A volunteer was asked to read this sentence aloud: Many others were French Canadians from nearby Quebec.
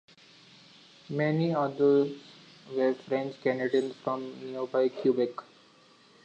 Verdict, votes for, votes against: accepted, 2, 1